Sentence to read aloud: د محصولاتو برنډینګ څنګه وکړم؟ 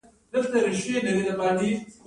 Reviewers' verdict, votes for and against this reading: accepted, 2, 0